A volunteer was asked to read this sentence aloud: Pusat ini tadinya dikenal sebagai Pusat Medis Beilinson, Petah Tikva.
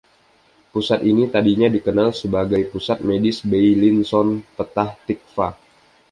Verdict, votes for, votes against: accepted, 2, 0